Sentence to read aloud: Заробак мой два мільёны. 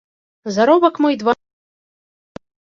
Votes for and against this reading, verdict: 0, 2, rejected